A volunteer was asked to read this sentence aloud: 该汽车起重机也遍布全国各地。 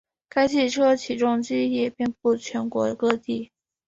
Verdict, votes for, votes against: accepted, 6, 1